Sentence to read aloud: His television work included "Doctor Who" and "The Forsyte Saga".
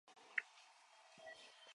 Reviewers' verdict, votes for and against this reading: rejected, 0, 2